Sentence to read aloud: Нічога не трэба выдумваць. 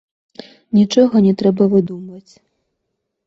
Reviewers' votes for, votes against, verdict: 2, 0, accepted